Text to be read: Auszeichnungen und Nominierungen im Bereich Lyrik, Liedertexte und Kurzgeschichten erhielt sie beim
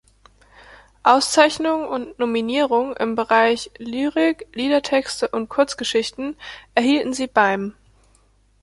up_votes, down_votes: 1, 2